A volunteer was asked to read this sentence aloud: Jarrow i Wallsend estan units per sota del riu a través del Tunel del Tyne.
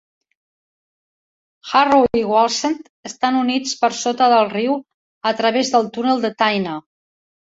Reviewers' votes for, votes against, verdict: 1, 2, rejected